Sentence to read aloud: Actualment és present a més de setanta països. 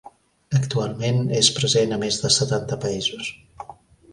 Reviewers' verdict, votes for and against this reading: rejected, 1, 2